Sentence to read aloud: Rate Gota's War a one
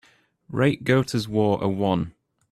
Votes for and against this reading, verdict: 2, 0, accepted